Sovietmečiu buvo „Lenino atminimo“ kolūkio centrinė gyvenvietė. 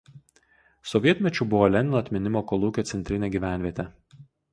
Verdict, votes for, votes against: accepted, 2, 0